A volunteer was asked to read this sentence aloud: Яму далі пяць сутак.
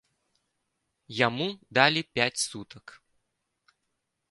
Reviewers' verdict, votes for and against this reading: accepted, 3, 0